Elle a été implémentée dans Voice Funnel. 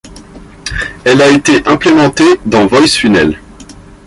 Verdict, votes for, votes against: accepted, 2, 0